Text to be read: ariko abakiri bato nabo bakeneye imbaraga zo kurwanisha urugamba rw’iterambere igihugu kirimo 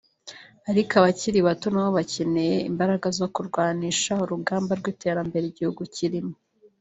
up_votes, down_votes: 2, 0